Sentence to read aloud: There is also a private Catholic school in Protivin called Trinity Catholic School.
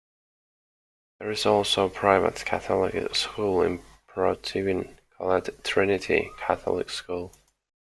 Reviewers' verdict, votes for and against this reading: accepted, 2, 0